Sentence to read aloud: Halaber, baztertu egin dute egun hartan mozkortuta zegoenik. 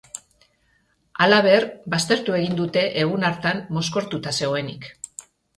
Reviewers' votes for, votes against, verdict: 2, 0, accepted